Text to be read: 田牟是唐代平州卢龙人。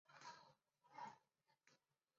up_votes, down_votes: 5, 4